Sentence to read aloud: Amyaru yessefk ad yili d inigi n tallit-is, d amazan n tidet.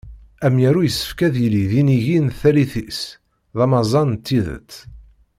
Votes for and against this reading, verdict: 0, 2, rejected